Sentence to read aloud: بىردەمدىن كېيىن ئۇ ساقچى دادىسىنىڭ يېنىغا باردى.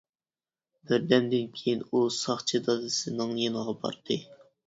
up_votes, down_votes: 2, 0